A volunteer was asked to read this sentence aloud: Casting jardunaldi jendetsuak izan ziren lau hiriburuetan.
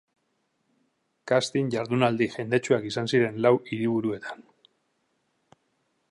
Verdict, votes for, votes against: accepted, 3, 0